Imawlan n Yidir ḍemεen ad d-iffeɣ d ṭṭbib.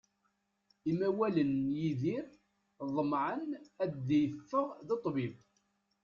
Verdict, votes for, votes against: rejected, 0, 2